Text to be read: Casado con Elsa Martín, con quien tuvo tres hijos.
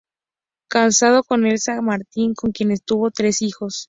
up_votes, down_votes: 2, 2